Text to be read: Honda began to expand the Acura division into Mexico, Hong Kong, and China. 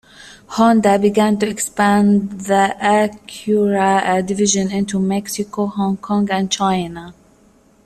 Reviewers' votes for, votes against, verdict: 0, 2, rejected